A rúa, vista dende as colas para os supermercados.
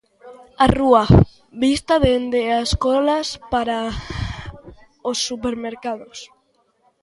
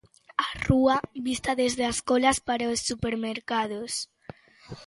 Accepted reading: first